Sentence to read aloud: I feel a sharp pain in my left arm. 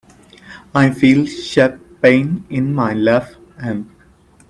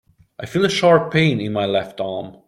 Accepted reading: second